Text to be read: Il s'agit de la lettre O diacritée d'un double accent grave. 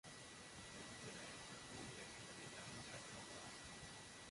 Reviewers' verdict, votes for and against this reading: rejected, 0, 2